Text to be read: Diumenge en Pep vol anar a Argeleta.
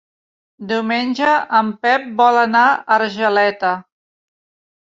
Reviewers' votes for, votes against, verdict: 3, 0, accepted